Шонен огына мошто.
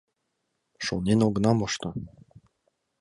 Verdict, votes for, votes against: accepted, 2, 0